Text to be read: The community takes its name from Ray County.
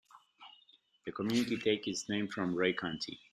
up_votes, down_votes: 1, 2